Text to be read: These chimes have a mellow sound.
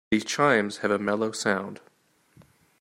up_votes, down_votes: 2, 1